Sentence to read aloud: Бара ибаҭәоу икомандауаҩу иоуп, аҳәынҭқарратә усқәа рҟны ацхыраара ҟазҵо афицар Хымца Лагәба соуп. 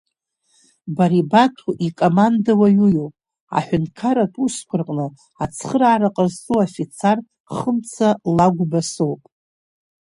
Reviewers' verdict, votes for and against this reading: accepted, 3, 1